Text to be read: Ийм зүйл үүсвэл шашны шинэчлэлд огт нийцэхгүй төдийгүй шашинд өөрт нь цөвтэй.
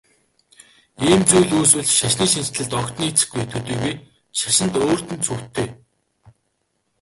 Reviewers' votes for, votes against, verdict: 0, 2, rejected